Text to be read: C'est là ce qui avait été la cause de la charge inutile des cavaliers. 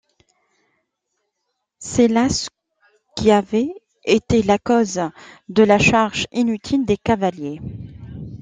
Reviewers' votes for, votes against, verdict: 2, 1, accepted